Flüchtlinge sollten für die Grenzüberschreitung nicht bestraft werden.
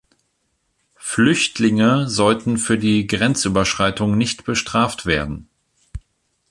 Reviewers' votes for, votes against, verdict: 2, 0, accepted